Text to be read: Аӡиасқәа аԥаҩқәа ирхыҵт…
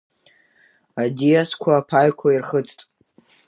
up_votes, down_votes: 2, 1